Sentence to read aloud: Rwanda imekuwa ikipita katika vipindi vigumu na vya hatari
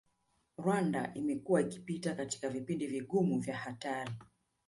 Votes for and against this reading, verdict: 2, 1, accepted